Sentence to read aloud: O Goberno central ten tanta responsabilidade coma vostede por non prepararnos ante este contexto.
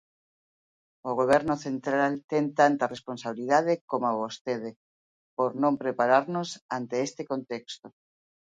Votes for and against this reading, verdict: 2, 1, accepted